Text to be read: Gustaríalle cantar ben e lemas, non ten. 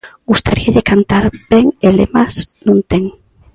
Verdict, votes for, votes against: accepted, 2, 0